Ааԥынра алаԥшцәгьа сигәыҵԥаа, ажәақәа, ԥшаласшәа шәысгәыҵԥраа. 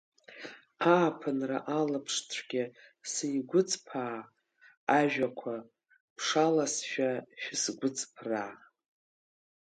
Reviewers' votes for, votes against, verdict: 2, 1, accepted